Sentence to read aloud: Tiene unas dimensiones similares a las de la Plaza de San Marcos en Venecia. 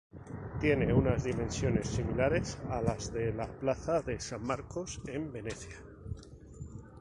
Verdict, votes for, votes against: rejected, 0, 2